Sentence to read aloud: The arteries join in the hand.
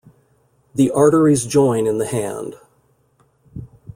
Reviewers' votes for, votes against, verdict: 2, 0, accepted